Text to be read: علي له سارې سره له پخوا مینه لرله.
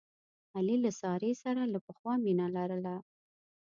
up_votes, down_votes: 2, 0